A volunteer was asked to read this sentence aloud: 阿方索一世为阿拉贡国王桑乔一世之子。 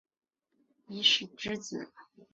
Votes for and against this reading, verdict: 0, 2, rejected